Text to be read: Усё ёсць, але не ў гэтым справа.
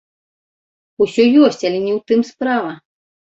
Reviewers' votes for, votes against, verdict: 1, 2, rejected